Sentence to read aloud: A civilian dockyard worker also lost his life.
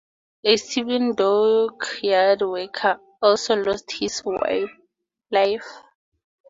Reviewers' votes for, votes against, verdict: 2, 0, accepted